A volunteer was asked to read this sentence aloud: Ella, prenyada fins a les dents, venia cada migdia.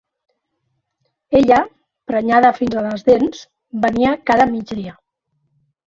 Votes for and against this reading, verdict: 2, 0, accepted